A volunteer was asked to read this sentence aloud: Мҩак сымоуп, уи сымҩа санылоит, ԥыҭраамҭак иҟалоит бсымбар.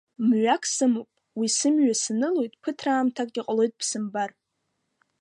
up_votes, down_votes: 2, 0